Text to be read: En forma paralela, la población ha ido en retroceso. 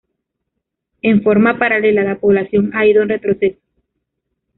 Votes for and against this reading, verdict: 0, 2, rejected